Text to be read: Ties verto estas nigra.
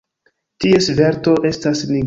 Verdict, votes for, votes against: rejected, 0, 2